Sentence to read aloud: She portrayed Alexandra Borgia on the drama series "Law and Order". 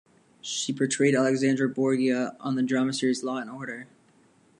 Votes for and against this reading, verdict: 2, 0, accepted